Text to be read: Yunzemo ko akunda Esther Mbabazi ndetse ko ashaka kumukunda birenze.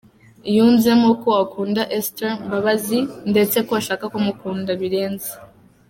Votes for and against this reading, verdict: 2, 0, accepted